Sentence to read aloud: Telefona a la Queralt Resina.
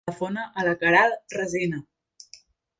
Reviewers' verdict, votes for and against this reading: rejected, 1, 2